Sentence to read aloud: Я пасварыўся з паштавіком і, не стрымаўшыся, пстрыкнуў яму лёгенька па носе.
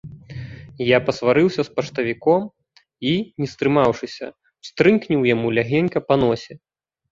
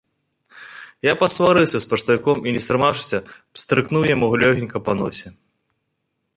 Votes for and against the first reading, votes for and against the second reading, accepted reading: 0, 2, 2, 0, second